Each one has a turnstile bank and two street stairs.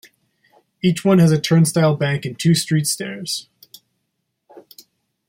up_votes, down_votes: 2, 0